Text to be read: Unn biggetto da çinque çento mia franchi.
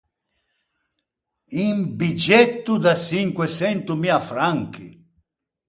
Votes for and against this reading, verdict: 2, 4, rejected